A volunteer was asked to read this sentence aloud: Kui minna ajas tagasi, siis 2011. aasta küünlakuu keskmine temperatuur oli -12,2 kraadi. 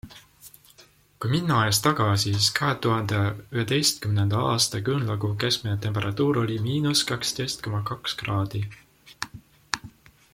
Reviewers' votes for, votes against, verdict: 0, 2, rejected